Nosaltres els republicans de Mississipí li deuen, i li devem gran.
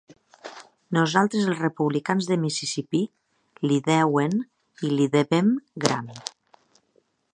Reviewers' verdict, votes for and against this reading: accepted, 3, 0